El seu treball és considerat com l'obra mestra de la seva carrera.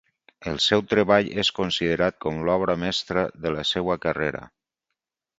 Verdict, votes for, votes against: accepted, 4, 0